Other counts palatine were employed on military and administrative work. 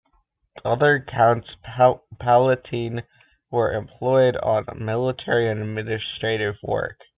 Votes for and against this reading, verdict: 0, 2, rejected